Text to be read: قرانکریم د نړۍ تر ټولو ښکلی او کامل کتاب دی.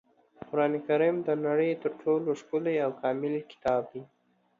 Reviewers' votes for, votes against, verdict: 2, 0, accepted